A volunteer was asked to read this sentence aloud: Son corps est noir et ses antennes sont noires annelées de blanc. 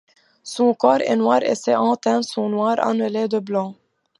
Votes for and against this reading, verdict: 2, 0, accepted